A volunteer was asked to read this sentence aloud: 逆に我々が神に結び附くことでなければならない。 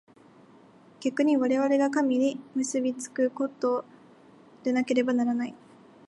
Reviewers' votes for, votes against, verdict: 2, 1, accepted